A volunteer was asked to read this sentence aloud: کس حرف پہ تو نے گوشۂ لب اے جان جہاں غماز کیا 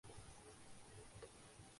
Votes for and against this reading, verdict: 0, 2, rejected